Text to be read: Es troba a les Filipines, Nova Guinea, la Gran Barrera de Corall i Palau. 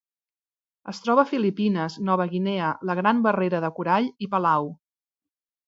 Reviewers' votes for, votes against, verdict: 0, 2, rejected